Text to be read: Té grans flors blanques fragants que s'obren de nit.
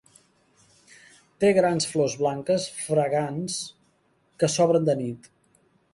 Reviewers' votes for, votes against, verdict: 3, 1, accepted